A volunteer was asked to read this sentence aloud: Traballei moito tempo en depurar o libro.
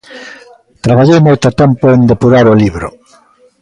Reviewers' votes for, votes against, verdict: 2, 0, accepted